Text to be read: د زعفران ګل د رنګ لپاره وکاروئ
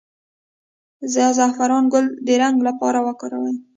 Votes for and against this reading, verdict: 2, 0, accepted